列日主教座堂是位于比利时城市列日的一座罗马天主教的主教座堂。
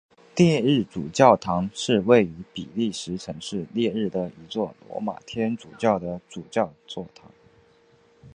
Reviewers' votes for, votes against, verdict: 3, 0, accepted